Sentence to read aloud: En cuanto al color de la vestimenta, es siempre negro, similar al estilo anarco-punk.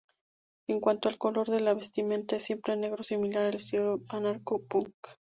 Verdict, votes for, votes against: rejected, 0, 2